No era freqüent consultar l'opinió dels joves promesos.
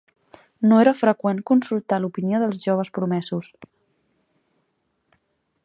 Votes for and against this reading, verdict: 2, 0, accepted